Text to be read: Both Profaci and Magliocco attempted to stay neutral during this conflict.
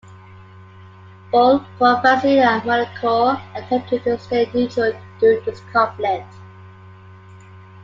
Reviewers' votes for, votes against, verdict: 0, 2, rejected